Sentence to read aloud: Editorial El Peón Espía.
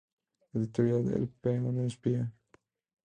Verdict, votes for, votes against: rejected, 0, 2